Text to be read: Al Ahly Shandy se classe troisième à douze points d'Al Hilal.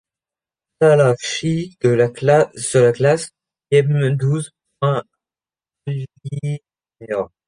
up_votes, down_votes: 1, 3